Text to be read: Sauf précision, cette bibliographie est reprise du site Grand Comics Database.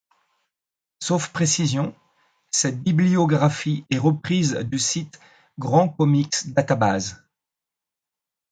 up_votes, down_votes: 2, 1